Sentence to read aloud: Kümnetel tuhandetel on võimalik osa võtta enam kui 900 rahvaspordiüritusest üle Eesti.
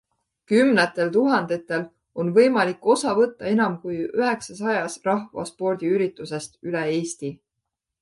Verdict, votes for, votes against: rejected, 0, 2